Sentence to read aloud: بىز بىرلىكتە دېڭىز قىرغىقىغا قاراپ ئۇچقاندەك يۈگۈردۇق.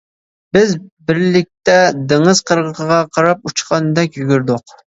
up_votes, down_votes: 2, 0